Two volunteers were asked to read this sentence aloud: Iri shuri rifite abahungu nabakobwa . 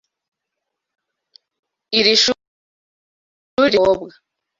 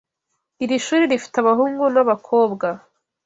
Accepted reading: second